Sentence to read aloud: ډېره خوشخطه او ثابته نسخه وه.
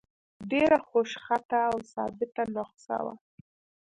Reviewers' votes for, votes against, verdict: 2, 1, accepted